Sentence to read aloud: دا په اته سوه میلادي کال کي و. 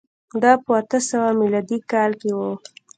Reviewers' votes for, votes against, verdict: 0, 2, rejected